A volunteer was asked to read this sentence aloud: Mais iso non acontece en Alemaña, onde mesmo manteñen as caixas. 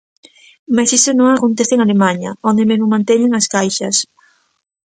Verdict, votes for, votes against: accepted, 2, 0